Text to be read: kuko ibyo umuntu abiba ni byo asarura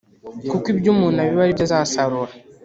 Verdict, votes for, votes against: rejected, 1, 2